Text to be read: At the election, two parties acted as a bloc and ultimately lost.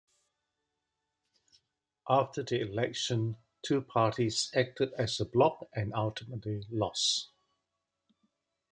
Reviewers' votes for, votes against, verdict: 0, 2, rejected